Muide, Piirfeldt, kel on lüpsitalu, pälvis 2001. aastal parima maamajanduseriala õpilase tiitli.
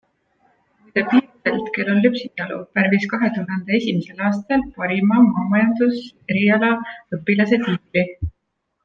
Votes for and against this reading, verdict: 0, 2, rejected